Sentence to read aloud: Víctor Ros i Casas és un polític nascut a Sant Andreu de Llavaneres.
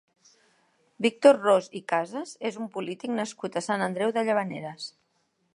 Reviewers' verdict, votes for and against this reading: accepted, 2, 0